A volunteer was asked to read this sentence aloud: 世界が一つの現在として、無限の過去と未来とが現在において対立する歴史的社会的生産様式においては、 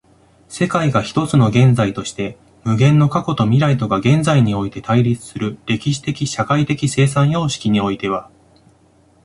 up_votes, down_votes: 2, 0